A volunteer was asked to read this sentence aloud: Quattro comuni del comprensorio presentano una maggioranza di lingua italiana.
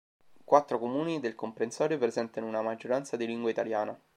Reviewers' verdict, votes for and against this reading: accepted, 2, 0